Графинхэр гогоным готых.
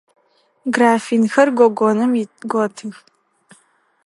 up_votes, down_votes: 2, 4